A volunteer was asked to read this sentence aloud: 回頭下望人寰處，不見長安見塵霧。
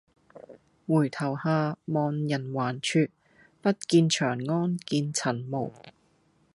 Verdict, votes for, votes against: accepted, 2, 0